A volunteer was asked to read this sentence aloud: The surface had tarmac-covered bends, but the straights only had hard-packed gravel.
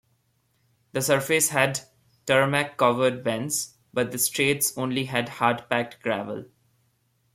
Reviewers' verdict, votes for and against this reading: rejected, 1, 2